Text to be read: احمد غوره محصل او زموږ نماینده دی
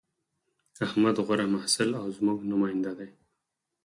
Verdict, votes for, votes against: accepted, 4, 0